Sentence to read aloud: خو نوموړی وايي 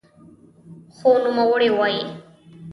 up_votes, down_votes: 2, 0